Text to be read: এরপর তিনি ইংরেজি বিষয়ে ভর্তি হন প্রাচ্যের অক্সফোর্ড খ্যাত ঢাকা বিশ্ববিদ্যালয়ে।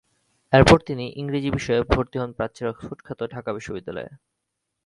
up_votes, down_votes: 0, 3